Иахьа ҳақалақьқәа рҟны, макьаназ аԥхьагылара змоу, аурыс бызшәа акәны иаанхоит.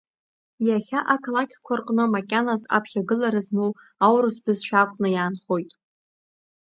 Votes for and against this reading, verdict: 0, 2, rejected